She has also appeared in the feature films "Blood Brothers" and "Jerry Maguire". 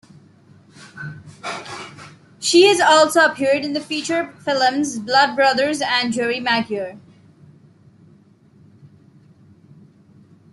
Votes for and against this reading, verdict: 0, 2, rejected